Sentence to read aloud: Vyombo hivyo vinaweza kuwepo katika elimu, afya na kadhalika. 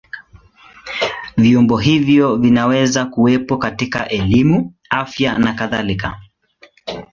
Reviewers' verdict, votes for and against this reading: accepted, 2, 0